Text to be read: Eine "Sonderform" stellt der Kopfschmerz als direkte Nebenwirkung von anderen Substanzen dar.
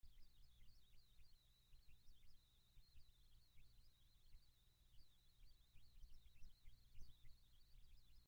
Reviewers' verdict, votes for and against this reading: rejected, 0, 2